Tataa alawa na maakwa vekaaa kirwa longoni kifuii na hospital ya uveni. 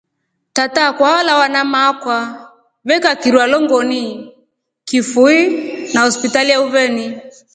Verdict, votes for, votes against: accepted, 3, 0